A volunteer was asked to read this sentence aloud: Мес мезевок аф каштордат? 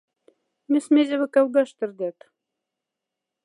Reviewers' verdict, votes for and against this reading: rejected, 1, 2